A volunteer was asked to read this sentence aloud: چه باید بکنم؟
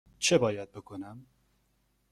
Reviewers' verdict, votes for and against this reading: accepted, 2, 0